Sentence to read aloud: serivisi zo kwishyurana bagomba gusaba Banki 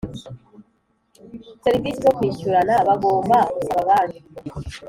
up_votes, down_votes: 2, 0